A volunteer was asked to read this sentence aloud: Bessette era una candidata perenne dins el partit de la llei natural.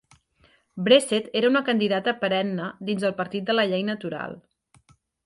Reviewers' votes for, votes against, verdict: 1, 2, rejected